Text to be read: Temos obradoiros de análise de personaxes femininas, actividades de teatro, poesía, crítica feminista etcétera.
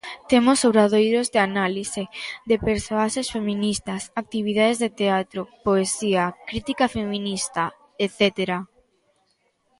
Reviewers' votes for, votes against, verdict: 0, 3, rejected